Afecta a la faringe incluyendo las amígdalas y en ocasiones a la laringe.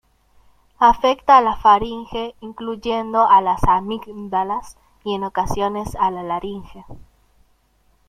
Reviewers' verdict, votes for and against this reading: rejected, 1, 2